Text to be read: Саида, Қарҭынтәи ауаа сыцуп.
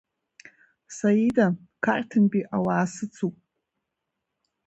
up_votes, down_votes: 1, 2